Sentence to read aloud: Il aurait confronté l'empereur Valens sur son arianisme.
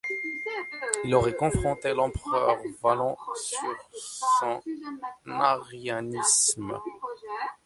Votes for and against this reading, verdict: 0, 2, rejected